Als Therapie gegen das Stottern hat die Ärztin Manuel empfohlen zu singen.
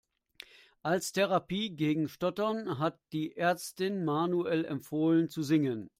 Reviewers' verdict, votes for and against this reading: rejected, 0, 3